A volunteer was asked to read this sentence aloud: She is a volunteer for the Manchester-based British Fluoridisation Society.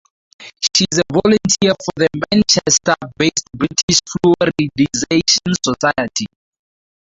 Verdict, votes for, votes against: rejected, 0, 4